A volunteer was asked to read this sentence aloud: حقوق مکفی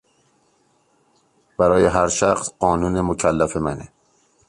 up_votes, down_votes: 0, 2